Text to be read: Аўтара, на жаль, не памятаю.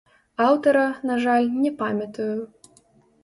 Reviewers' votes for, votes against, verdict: 1, 2, rejected